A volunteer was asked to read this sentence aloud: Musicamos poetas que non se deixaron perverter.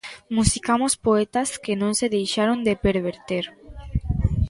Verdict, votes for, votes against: rejected, 0, 2